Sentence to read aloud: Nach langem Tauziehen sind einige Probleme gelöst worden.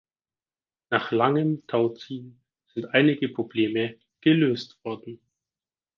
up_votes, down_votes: 6, 0